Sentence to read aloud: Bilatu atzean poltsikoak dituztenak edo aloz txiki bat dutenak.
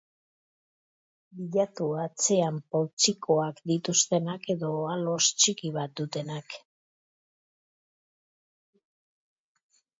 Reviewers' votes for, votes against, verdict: 2, 0, accepted